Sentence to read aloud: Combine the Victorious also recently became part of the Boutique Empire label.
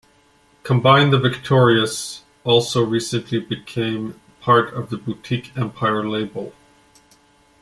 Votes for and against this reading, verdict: 2, 1, accepted